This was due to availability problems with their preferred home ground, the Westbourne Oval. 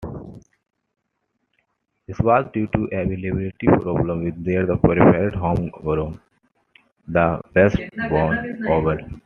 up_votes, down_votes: 0, 2